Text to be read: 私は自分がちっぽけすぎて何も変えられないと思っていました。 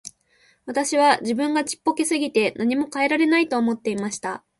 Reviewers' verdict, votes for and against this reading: accepted, 2, 0